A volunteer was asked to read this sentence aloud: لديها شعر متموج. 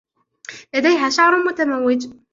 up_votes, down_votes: 1, 2